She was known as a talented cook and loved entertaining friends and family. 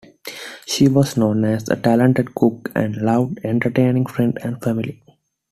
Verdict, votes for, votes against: accepted, 2, 1